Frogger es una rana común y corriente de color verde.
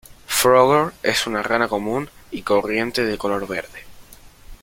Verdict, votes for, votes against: rejected, 1, 2